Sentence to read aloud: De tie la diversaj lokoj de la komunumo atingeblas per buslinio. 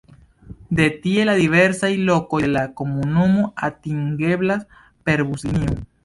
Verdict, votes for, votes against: rejected, 1, 2